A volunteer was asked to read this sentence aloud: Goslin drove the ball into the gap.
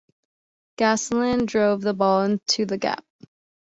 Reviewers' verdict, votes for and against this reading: accepted, 2, 0